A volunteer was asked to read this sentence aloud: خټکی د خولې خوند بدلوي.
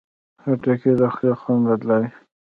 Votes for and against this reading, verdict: 1, 2, rejected